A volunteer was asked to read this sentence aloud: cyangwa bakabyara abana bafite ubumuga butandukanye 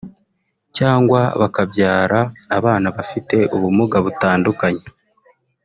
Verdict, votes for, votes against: rejected, 0, 2